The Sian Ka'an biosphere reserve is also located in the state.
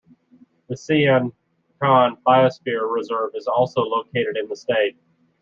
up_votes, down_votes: 2, 1